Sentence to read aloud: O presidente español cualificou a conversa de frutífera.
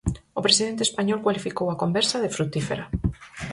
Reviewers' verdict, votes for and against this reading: accepted, 4, 0